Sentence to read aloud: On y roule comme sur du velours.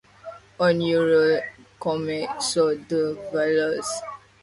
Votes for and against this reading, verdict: 2, 0, accepted